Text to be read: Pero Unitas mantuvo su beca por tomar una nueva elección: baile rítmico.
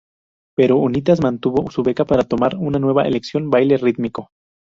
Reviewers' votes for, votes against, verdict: 0, 2, rejected